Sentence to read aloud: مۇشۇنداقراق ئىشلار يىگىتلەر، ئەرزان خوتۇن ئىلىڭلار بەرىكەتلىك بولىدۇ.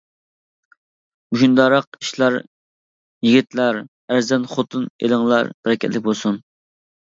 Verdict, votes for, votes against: rejected, 0, 2